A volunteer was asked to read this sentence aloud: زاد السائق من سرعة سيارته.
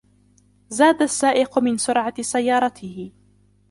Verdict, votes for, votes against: accepted, 2, 1